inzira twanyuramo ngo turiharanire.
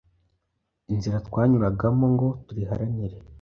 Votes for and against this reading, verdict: 1, 2, rejected